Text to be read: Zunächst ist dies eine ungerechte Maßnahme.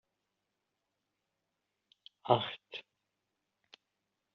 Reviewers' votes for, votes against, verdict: 0, 2, rejected